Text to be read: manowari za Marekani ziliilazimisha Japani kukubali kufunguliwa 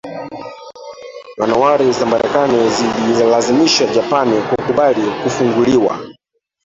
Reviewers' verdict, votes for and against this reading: rejected, 1, 2